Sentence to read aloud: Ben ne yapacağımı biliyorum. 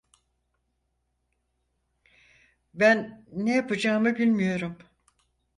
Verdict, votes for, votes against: rejected, 2, 4